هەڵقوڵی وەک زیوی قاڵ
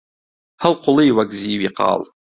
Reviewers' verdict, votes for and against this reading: rejected, 1, 2